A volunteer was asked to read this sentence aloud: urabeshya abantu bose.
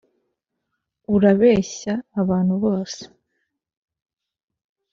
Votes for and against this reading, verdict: 2, 0, accepted